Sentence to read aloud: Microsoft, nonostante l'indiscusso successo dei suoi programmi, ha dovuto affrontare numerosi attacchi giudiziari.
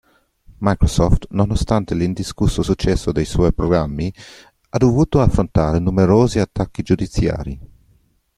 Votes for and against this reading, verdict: 2, 0, accepted